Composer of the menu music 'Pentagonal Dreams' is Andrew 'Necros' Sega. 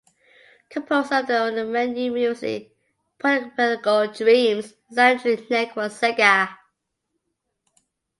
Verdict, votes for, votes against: rejected, 0, 2